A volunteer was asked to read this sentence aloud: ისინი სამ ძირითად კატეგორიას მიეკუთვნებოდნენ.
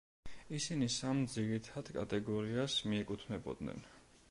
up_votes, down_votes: 2, 0